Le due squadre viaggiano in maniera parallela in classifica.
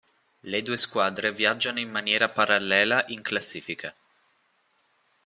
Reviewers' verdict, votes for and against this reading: accepted, 2, 0